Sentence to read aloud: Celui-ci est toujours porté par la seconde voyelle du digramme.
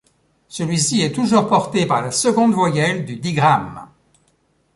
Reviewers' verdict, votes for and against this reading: accepted, 2, 0